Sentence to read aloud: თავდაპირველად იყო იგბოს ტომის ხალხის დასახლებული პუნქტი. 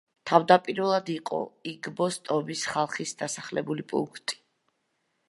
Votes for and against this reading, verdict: 2, 0, accepted